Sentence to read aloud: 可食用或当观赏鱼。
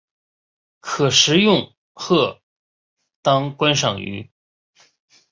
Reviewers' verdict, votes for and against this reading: accepted, 2, 0